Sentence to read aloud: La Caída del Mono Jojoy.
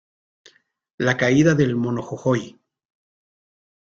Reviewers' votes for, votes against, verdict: 2, 0, accepted